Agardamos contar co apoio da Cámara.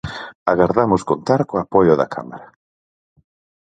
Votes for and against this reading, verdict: 4, 0, accepted